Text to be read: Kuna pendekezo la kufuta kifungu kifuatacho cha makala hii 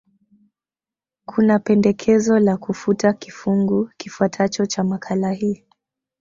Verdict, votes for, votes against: accepted, 2, 0